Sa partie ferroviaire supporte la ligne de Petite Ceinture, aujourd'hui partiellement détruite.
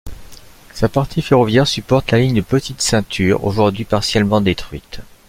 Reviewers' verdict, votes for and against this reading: accepted, 2, 0